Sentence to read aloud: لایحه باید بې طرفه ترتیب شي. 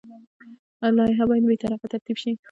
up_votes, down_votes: 0, 2